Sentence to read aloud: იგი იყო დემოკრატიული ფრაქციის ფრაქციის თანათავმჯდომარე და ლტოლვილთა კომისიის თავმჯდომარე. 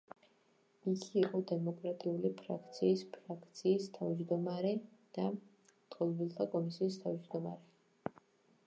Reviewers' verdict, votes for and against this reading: rejected, 0, 2